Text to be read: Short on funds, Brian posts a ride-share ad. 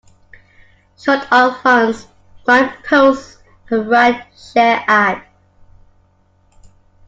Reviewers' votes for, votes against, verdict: 2, 1, accepted